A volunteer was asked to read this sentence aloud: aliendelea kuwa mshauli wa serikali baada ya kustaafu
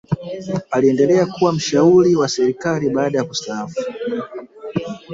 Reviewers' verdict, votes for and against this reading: accepted, 2, 1